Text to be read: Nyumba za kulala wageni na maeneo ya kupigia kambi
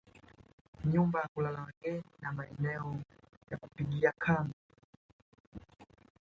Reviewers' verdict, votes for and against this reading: rejected, 0, 2